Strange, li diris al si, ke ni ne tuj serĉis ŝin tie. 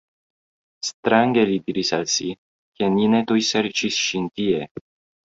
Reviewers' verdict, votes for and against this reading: accepted, 2, 0